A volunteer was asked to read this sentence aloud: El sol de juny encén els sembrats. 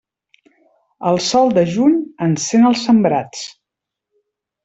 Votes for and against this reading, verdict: 3, 0, accepted